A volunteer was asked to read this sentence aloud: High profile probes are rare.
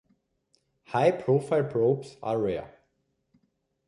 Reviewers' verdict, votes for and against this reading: accepted, 3, 0